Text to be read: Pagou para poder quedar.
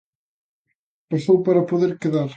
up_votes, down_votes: 0, 2